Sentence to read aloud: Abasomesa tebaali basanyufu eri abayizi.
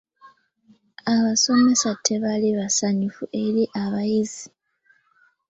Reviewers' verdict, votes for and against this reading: accepted, 2, 0